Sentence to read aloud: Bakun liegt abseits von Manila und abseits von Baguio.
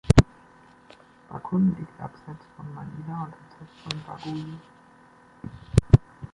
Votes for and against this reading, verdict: 1, 2, rejected